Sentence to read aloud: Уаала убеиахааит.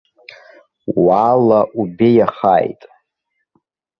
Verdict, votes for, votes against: accepted, 2, 0